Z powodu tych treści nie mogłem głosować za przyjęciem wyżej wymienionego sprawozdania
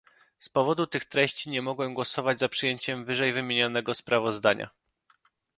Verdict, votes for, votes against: accepted, 2, 0